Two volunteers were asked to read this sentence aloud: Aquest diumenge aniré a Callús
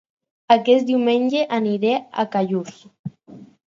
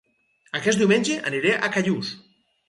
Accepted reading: first